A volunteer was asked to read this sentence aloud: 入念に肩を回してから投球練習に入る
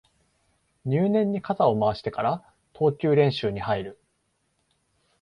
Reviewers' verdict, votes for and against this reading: accepted, 2, 0